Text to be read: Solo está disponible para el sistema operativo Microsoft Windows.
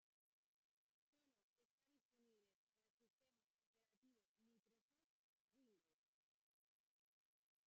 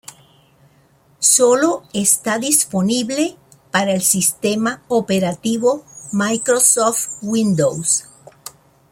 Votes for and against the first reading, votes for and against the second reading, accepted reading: 0, 2, 2, 0, second